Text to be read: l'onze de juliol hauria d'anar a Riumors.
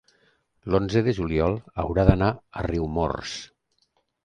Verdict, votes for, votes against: rejected, 1, 2